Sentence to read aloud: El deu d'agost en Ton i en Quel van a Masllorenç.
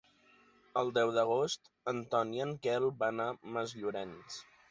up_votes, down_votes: 3, 0